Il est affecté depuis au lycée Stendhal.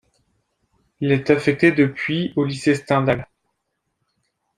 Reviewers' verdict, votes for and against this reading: accepted, 2, 0